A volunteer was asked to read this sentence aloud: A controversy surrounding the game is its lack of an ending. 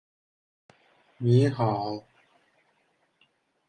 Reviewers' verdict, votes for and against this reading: rejected, 0, 2